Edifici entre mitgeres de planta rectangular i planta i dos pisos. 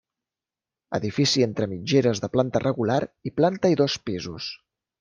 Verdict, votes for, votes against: rejected, 0, 2